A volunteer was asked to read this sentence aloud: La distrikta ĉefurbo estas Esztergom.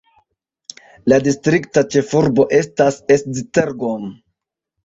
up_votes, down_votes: 2, 1